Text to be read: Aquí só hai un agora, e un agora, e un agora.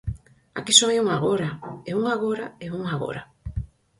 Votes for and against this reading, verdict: 4, 0, accepted